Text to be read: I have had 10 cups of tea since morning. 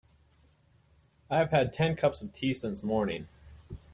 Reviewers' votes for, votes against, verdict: 0, 2, rejected